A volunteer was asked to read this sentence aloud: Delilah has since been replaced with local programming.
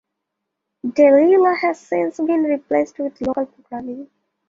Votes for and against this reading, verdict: 1, 2, rejected